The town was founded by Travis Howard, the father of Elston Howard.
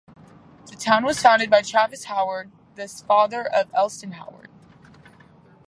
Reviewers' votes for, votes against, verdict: 0, 2, rejected